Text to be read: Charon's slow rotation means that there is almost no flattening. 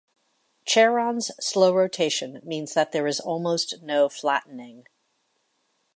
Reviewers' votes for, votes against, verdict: 2, 0, accepted